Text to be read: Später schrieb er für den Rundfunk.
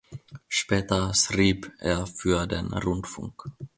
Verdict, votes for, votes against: rejected, 1, 2